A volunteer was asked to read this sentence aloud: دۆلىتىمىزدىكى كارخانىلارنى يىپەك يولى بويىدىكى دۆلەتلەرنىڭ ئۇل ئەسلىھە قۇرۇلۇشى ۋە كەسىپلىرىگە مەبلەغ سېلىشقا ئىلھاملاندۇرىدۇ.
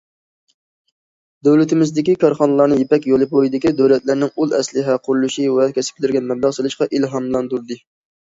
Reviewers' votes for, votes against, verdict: 1, 2, rejected